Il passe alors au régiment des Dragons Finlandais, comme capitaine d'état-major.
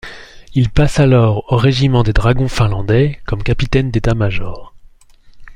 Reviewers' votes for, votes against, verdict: 2, 0, accepted